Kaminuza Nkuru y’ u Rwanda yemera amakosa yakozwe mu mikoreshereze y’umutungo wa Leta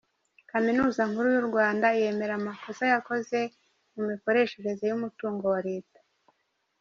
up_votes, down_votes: 1, 2